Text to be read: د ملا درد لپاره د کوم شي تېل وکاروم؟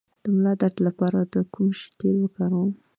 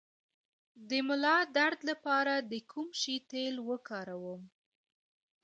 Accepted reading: first